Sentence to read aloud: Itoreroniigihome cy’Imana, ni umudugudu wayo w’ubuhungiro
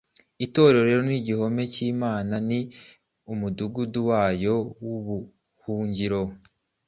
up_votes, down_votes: 2, 0